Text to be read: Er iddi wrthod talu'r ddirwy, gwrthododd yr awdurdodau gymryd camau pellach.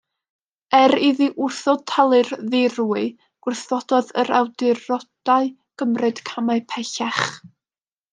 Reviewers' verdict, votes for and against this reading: rejected, 1, 2